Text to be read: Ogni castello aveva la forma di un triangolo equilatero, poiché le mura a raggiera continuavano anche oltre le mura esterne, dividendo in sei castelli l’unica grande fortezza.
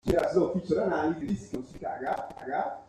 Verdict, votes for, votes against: rejected, 0, 2